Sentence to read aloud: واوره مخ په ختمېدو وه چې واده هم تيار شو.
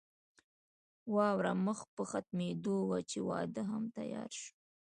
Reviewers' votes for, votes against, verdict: 0, 2, rejected